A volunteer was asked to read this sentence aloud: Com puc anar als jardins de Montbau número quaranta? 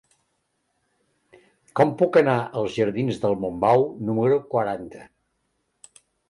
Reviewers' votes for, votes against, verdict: 1, 2, rejected